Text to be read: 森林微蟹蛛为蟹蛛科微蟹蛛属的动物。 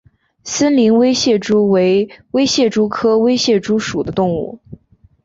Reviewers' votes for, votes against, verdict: 2, 0, accepted